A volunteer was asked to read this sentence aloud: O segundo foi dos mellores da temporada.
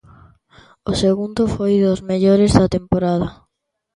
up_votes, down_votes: 3, 0